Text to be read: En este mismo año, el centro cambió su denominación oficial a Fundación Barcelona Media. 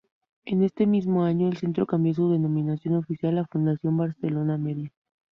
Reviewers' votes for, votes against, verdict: 2, 0, accepted